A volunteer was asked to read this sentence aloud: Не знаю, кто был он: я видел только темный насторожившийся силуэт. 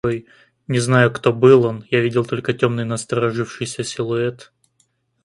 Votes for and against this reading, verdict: 0, 2, rejected